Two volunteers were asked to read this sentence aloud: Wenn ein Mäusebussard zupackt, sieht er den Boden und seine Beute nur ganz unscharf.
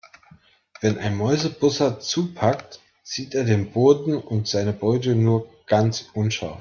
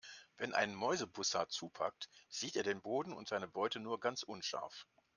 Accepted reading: second